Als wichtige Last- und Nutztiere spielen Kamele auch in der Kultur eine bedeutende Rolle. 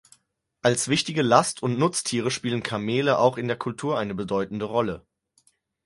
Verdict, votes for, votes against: accepted, 4, 0